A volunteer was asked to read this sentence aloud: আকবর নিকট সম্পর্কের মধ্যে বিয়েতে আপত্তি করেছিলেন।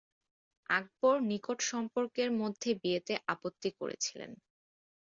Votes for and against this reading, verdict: 2, 0, accepted